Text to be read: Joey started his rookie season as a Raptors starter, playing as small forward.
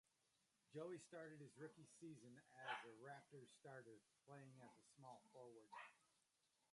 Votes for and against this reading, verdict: 1, 2, rejected